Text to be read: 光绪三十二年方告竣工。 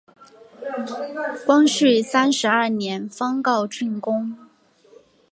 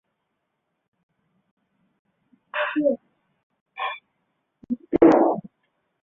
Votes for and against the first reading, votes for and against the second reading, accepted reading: 6, 1, 0, 3, first